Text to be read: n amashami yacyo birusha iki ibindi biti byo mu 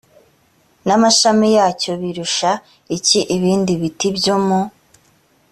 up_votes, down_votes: 2, 0